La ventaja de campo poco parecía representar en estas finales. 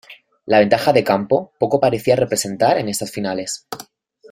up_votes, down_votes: 2, 0